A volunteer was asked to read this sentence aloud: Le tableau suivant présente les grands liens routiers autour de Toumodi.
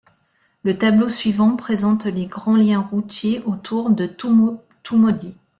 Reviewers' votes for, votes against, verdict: 2, 1, accepted